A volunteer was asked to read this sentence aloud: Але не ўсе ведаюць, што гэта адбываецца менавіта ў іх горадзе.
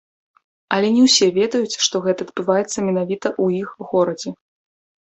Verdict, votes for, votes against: accepted, 2, 0